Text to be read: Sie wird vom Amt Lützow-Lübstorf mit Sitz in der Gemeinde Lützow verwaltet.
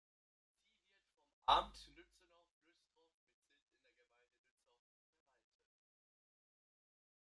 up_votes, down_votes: 0, 2